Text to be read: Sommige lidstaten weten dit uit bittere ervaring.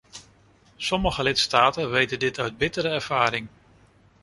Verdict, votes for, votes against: accepted, 2, 0